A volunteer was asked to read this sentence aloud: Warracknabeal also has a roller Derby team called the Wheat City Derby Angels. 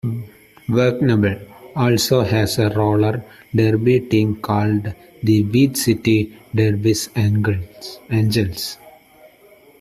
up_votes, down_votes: 0, 2